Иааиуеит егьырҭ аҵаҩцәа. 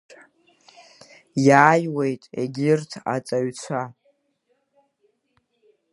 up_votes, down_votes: 2, 0